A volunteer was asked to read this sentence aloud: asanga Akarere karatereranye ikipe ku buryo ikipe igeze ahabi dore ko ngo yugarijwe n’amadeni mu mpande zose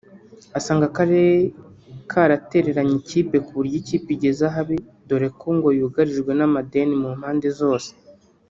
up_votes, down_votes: 1, 2